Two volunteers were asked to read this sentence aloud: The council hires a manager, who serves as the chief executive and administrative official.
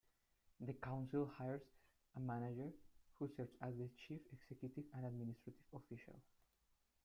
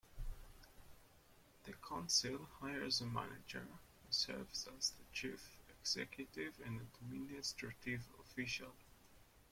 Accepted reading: second